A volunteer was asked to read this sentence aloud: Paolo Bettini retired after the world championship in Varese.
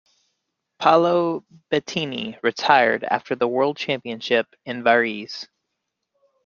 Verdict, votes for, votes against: accepted, 3, 0